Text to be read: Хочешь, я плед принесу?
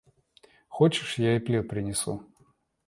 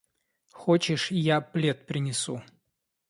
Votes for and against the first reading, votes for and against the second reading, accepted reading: 1, 2, 2, 0, second